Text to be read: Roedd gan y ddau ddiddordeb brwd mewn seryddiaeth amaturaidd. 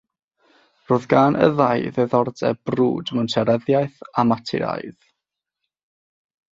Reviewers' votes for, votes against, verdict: 6, 0, accepted